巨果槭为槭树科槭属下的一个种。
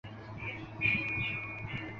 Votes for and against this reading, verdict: 0, 3, rejected